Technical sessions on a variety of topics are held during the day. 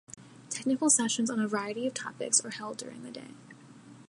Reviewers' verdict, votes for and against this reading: accepted, 2, 0